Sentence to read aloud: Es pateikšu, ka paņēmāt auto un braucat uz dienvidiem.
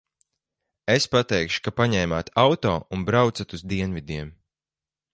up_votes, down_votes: 4, 2